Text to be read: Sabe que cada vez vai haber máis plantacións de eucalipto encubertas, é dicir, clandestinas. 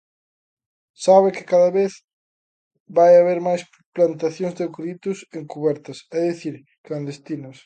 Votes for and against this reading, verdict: 0, 2, rejected